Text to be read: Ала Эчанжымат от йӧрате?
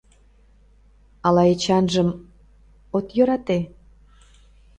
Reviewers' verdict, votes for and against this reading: rejected, 0, 2